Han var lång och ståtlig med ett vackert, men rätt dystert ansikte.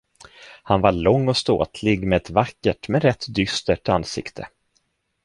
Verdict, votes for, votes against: accepted, 2, 0